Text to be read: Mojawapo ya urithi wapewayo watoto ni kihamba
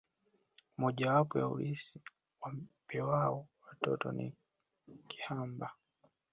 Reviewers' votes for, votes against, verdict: 1, 2, rejected